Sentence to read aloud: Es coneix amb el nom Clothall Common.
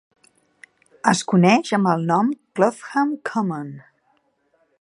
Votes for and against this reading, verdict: 2, 0, accepted